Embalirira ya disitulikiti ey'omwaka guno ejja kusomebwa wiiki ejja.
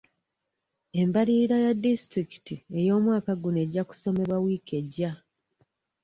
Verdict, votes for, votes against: accepted, 2, 0